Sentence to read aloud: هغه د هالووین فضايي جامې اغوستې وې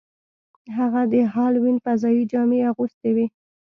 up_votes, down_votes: 2, 0